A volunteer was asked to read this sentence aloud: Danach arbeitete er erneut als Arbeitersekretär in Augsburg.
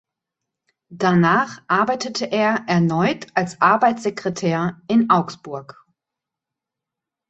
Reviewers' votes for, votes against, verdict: 1, 2, rejected